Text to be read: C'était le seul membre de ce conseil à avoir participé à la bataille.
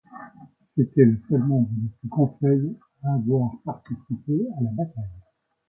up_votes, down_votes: 0, 2